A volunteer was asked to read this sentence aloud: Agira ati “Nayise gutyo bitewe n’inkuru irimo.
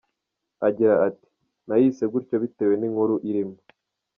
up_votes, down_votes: 2, 0